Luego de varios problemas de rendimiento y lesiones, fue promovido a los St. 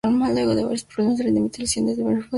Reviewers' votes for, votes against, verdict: 0, 2, rejected